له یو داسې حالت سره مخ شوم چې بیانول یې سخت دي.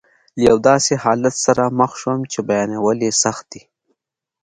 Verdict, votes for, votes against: accepted, 2, 0